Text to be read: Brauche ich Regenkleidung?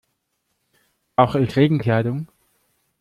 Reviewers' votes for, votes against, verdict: 0, 2, rejected